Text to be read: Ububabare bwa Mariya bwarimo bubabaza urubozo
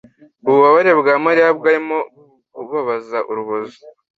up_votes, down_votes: 2, 0